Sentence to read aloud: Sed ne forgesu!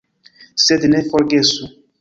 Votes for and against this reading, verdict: 0, 2, rejected